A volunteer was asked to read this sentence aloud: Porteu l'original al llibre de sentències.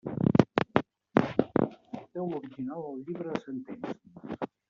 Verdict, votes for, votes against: rejected, 0, 2